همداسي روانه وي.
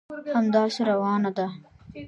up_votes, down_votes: 0, 2